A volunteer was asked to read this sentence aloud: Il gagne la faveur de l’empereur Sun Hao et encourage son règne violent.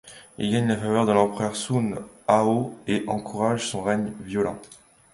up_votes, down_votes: 2, 0